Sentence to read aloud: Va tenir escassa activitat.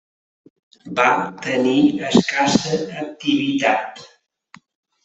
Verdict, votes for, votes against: accepted, 3, 1